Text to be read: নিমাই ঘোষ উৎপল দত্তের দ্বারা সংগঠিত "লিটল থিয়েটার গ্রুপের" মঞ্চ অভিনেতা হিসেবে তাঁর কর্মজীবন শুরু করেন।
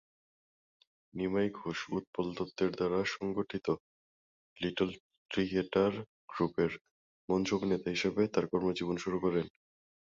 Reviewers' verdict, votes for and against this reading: rejected, 0, 2